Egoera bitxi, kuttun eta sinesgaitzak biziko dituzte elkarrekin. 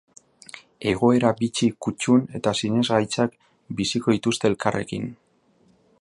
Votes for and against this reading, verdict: 3, 0, accepted